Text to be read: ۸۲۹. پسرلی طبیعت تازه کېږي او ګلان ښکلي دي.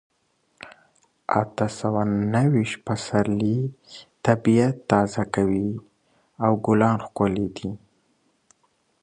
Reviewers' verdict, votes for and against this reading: rejected, 0, 2